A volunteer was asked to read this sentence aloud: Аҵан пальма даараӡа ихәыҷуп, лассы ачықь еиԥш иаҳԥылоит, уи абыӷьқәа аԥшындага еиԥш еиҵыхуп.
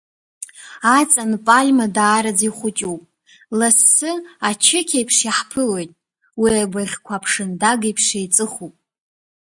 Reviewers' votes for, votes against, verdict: 2, 0, accepted